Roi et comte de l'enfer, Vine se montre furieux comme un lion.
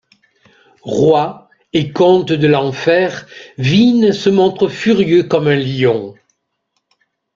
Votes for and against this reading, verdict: 2, 0, accepted